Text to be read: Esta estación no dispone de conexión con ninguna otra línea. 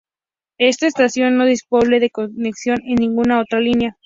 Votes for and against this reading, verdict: 0, 2, rejected